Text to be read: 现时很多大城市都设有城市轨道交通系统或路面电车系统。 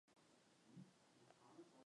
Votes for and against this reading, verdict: 0, 2, rejected